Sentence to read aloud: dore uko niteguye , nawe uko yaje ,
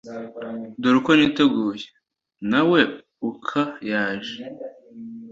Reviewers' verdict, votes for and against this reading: rejected, 1, 2